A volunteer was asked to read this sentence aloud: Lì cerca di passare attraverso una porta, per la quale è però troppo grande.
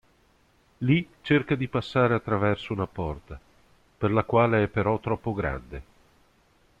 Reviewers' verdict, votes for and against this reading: accepted, 2, 0